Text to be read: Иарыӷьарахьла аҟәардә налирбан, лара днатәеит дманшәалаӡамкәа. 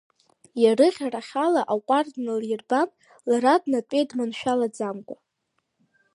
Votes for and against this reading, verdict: 2, 1, accepted